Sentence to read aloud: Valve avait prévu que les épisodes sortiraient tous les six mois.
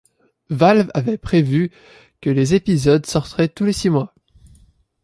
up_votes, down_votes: 0, 2